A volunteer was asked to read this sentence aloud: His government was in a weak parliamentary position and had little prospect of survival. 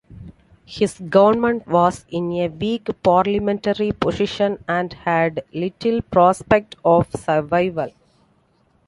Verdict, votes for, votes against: accepted, 2, 1